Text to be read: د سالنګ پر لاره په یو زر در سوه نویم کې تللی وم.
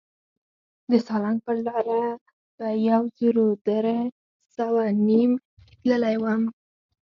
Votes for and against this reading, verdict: 4, 0, accepted